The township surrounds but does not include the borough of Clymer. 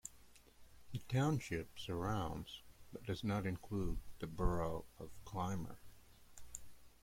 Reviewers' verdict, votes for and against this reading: accepted, 2, 0